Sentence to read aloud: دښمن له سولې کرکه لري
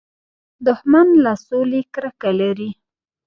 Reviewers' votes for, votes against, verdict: 1, 2, rejected